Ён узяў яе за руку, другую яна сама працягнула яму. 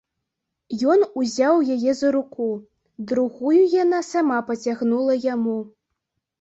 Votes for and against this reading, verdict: 0, 2, rejected